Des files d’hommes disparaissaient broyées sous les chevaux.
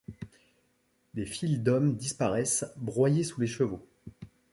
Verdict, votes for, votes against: rejected, 1, 2